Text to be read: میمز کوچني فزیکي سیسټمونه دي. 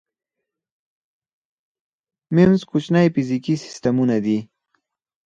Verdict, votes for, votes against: accepted, 4, 0